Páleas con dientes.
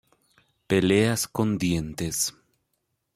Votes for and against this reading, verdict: 1, 2, rejected